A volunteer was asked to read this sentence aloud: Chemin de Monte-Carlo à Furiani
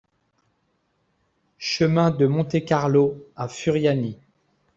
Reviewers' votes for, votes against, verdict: 2, 0, accepted